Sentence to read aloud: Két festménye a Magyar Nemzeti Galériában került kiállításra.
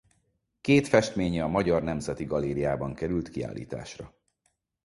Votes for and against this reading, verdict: 4, 0, accepted